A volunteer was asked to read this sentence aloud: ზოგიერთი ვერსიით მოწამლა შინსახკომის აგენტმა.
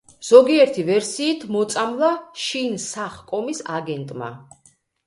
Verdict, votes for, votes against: rejected, 1, 2